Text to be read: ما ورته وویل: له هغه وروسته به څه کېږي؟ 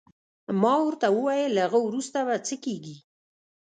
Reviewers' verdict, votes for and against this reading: rejected, 1, 2